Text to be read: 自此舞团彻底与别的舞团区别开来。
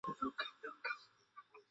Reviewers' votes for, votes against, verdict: 0, 2, rejected